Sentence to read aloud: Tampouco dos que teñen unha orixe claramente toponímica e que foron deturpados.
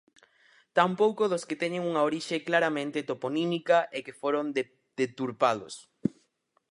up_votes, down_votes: 0, 4